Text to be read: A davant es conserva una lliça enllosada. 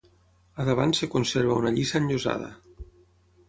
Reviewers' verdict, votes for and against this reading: rejected, 0, 6